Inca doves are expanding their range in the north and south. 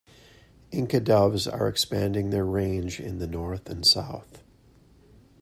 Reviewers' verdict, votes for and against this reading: accepted, 2, 0